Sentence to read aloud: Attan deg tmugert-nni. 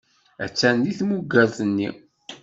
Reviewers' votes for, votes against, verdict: 2, 0, accepted